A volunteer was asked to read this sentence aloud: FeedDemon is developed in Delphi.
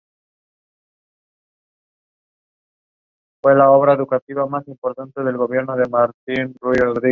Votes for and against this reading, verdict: 1, 2, rejected